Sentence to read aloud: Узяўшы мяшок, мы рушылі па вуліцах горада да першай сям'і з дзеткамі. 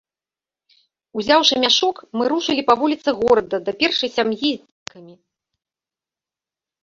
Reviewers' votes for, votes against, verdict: 0, 2, rejected